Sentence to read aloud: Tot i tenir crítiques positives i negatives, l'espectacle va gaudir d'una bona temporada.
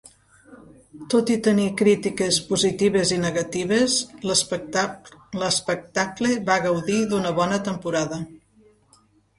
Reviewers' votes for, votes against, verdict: 1, 2, rejected